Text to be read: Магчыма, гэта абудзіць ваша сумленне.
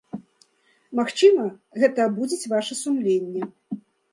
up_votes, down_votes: 2, 0